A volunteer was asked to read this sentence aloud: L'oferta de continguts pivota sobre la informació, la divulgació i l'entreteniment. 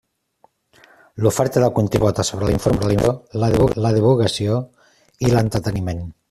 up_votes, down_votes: 0, 2